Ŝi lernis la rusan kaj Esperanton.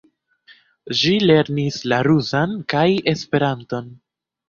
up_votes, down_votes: 0, 2